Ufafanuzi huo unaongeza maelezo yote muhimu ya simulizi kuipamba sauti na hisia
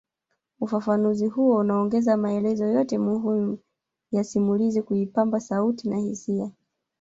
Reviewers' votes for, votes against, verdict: 1, 2, rejected